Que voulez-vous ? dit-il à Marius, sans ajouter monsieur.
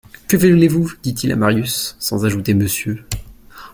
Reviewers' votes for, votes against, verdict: 1, 2, rejected